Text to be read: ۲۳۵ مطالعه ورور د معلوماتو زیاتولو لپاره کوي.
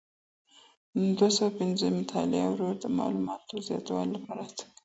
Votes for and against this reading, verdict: 0, 2, rejected